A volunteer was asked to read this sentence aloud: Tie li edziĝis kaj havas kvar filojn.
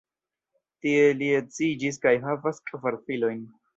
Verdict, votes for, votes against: rejected, 1, 2